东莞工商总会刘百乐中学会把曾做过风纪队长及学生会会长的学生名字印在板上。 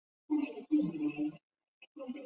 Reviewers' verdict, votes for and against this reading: rejected, 1, 2